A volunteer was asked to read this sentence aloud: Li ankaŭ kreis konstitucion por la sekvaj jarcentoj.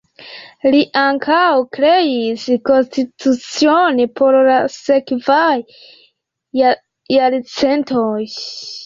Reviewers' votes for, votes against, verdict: 0, 2, rejected